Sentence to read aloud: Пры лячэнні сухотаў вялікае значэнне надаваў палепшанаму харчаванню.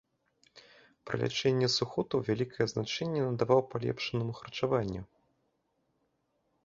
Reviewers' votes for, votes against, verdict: 2, 0, accepted